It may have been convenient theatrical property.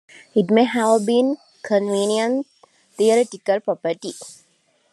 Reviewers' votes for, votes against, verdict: 2, 0, accepted